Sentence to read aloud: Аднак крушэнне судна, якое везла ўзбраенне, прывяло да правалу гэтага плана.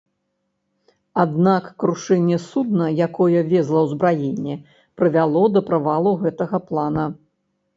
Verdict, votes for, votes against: accepted, 2, 0